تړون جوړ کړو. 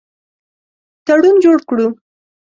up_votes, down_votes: 2, 0